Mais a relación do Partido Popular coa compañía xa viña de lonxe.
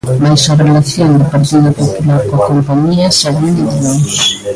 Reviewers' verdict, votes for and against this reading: accepted, 2, 1